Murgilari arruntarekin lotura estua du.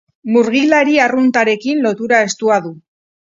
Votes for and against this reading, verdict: 4, 0, accepted